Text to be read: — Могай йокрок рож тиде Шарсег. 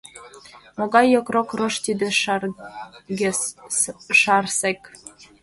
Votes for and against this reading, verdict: 1, 2, rejected